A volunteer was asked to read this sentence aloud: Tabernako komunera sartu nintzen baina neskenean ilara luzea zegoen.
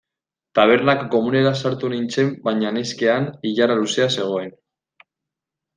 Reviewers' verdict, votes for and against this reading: rejected, 1, 2